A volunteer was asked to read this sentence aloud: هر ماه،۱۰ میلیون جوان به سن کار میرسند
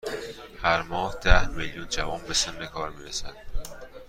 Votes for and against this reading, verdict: 0, 2, rejected